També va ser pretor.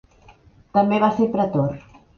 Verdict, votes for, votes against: accepted, 3, 0